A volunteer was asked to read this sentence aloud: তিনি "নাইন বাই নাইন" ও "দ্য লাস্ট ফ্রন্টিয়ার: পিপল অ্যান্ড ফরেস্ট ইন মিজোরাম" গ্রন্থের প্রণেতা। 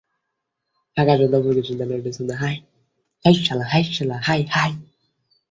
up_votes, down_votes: 2, 16